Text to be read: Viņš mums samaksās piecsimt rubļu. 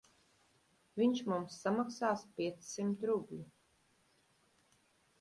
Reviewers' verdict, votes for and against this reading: accepted, 3, 0